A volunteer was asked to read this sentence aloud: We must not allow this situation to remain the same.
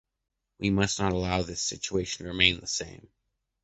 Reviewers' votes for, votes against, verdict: 0, 2, rejected